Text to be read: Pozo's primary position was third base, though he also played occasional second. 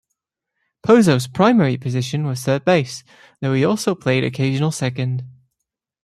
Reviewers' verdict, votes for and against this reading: accepted, 2, 0